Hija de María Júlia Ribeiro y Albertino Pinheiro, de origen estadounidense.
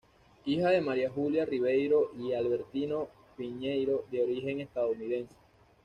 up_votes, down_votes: 2, 0